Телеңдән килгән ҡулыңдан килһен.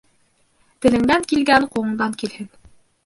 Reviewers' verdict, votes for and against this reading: rejected, 0, 2